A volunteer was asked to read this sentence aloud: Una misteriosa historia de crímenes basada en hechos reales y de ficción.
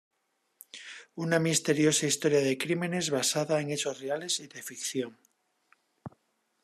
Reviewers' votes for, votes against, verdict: 3, 0, accepted